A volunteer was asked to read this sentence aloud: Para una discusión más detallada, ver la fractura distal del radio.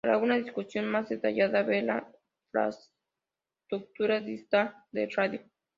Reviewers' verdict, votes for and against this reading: rejected, 0, 2